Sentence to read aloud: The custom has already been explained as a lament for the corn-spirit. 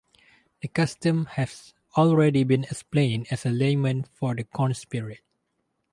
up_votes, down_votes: 4, 0